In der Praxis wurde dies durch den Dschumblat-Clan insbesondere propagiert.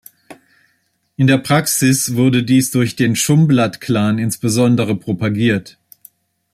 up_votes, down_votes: 2, 1